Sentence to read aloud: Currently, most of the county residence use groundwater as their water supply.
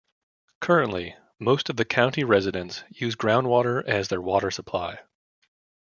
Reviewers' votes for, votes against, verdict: 1, 2, rejected